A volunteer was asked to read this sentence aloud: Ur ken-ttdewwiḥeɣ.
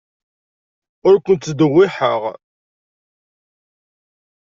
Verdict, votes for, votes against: accepted, 2, 1